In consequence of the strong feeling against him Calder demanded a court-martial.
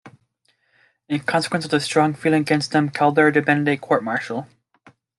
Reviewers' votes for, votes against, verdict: 2, 1, accepted